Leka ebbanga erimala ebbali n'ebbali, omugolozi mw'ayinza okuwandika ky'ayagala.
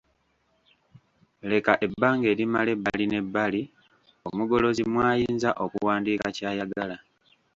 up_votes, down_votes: 1, 2